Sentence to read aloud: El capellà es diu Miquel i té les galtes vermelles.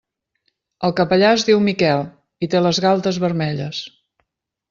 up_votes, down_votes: 3, 0